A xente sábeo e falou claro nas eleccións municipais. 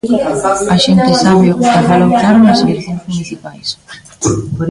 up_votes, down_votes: 0, 2